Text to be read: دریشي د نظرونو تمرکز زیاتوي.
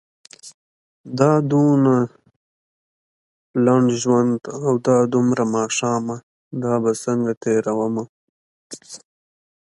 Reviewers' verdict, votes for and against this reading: rejected, 0, 2